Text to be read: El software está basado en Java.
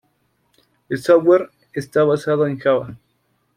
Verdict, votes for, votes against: rejected, 1, 2